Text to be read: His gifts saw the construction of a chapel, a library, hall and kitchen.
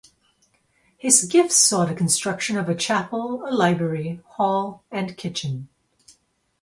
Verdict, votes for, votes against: accepted, 2, 0